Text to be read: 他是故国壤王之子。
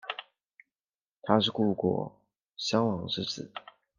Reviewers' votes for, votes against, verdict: 2, 0, accepted